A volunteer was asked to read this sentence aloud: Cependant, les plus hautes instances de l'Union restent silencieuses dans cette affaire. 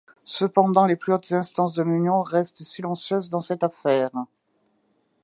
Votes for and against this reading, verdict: 2, 0, accepted